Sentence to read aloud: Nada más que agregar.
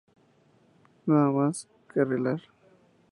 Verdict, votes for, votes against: rejected, 0, 4